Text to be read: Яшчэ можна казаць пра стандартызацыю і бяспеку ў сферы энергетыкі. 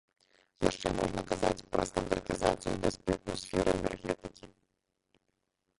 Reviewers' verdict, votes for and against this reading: rejected, 0, 2